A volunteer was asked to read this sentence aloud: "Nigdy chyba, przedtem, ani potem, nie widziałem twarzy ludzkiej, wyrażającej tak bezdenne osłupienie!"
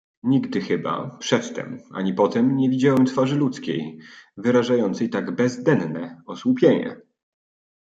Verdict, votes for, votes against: accepted, 2, 1